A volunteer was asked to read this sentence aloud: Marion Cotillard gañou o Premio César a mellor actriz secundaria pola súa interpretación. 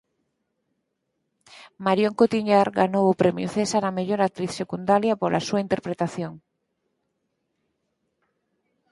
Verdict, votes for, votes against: rejected, 0, 4